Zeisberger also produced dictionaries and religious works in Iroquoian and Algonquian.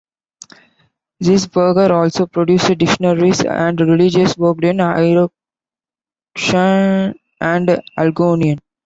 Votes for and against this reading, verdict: 0, 2, rejected